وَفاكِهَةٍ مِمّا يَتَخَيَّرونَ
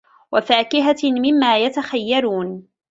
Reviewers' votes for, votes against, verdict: 2, 0, accepted